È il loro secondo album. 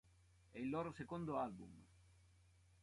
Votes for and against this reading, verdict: 2, 0, accepted